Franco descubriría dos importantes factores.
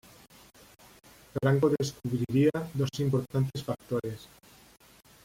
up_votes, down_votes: 0, 2